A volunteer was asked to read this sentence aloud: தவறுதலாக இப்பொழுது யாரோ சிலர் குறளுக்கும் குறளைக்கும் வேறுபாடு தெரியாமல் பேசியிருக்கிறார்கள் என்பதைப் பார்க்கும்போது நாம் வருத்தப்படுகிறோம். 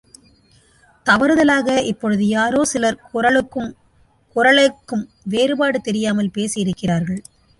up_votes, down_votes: 0, 2